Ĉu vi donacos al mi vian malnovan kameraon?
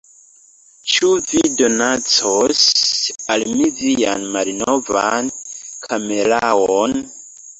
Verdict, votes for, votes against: accepted, 2, 0